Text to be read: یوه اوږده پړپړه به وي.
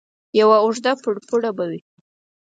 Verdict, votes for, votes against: rejected, 2, 4